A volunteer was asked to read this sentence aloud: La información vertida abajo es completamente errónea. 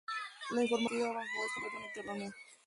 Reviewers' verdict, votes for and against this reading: rejected, 0, 2